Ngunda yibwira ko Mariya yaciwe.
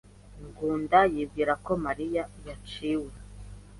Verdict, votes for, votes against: accepted, 2, 0